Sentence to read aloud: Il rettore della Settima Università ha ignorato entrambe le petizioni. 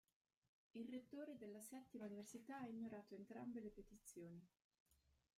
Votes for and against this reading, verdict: 0, 2, rejected